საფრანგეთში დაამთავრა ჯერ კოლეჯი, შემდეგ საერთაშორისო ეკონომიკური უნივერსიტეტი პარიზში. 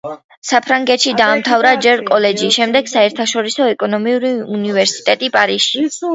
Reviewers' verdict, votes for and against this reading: accepted, 2, 0